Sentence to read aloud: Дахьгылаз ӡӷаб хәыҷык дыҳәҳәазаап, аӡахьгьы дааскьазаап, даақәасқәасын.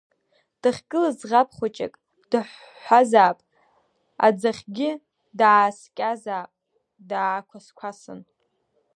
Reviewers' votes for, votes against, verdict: 2, 1, accepted